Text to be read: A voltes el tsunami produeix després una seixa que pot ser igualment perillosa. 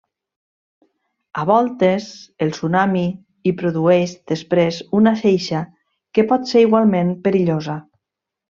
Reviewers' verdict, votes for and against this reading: rejected, 1, 2